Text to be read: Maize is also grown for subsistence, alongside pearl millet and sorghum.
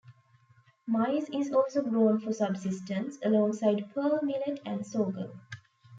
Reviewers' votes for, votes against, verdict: 2, 1, accepted